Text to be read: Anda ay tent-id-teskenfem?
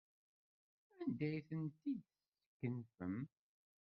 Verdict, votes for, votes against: rejected, 0, 2